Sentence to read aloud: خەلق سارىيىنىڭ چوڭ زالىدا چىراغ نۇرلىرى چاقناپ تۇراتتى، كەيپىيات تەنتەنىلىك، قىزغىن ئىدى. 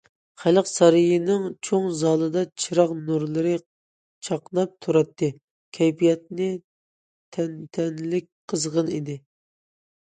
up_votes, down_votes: 0, 2